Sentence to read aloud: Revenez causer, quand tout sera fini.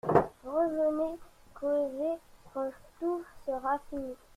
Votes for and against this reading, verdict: 0, 2, rejected